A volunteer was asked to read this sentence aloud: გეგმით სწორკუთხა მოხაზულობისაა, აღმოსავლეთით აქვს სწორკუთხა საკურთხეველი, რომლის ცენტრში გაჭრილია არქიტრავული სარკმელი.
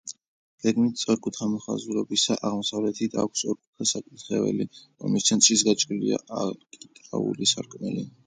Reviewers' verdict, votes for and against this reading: rejected, 0, 2